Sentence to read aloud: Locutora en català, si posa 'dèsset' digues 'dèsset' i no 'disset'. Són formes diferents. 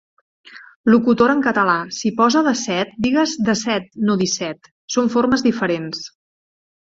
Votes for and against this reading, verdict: 1, 2, rejected